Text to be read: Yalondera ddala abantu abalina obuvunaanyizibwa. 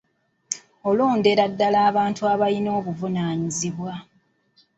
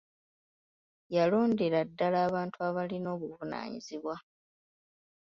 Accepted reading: second